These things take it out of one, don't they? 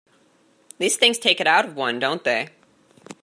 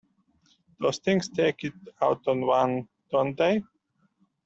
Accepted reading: first